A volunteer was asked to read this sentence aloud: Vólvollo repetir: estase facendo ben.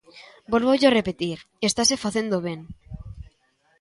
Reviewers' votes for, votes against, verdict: 2, 0, accepted